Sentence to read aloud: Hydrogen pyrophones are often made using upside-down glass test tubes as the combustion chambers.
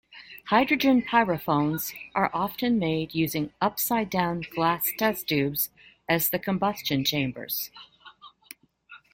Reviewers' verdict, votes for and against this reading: accepted, 2, 0